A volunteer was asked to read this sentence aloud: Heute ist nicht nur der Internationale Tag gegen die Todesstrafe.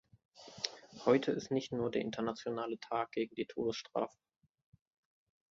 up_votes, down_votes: 2, 1